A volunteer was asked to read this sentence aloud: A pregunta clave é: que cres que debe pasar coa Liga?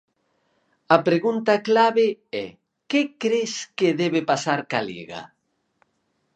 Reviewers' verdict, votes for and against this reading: rejected, 0, 4